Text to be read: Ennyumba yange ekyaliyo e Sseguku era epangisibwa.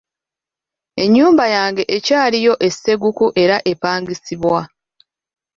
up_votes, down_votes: 2, 0